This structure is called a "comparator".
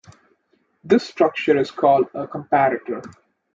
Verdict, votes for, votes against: accepted, 2, 0